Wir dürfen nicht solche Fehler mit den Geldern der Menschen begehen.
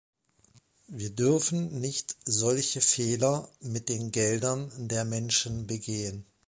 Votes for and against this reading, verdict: 3, 0, accepted